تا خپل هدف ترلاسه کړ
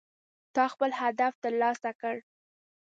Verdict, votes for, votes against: accepted, 2, 0